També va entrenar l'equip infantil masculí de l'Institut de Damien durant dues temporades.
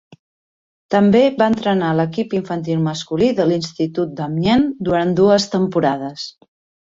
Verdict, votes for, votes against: rejected, 1, 2